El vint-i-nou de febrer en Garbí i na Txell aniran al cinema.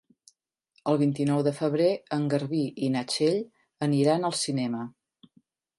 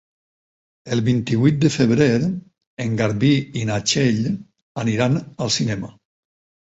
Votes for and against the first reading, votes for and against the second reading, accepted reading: 4, 0, 0, 4, first